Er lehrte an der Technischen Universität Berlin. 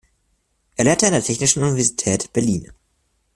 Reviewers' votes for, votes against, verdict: 2, 0, accepted